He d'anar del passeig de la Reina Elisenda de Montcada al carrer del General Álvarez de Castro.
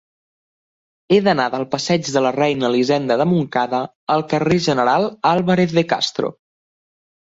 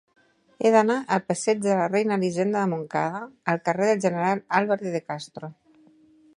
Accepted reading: first